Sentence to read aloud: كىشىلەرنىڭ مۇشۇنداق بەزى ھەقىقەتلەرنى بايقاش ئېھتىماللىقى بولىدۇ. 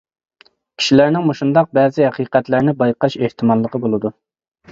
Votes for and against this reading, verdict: 2, 0, accepted